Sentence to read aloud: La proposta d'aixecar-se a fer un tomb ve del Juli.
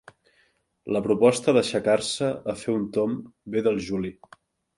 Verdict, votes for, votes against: accepted, 2, 0